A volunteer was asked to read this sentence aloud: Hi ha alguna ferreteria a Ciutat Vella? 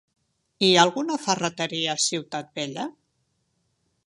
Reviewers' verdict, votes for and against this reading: accepted, 2, 0